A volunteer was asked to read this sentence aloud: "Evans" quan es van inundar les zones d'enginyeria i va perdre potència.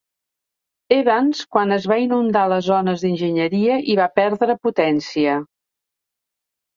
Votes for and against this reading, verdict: 1, 2, rejected